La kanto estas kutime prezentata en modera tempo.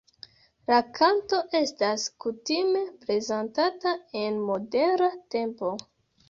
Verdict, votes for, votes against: rejected, 1, 2